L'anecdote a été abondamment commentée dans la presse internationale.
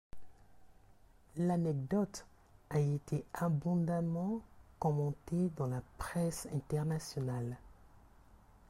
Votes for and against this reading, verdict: 2, 1, accepted